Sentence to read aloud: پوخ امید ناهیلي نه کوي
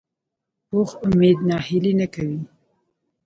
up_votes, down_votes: 2, 0